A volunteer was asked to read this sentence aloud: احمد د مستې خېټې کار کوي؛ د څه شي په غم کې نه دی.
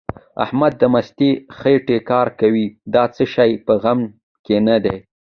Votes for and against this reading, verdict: 1, 2, rejected